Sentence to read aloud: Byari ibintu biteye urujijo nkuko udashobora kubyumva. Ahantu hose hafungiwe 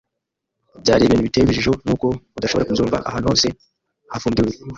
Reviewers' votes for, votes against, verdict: 1, 2, rejected